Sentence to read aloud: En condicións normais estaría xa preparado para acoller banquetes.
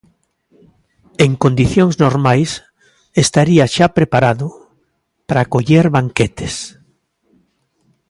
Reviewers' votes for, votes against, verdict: 2, 0, accepted